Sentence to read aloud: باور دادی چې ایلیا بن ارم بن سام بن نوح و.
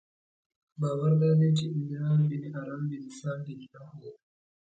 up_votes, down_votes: 2, 0